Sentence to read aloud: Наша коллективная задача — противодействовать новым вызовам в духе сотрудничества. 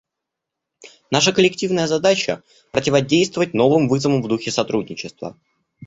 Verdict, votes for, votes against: accepted, 2, 0